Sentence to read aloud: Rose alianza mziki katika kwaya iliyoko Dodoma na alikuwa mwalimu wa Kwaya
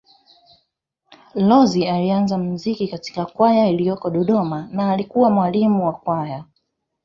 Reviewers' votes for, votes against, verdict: 1, 2, rejected